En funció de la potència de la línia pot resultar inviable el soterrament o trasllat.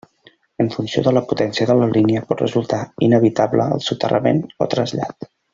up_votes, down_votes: 0, 2